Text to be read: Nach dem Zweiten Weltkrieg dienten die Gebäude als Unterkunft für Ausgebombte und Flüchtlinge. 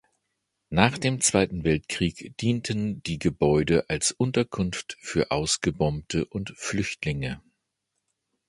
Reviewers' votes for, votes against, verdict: 2, 0, accepted